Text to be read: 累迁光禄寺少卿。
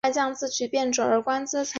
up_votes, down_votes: 1, 2